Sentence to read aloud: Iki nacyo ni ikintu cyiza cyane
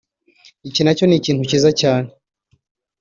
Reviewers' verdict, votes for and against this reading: accepted, 2, 0